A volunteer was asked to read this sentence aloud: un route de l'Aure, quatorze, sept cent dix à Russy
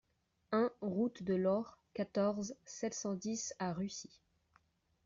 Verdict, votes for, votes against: accepted, 2, 0